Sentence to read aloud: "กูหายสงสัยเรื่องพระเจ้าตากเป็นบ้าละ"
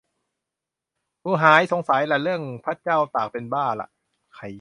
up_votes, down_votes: 0, 2